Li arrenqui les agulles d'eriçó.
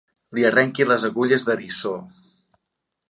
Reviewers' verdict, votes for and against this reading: accepted, 2, 0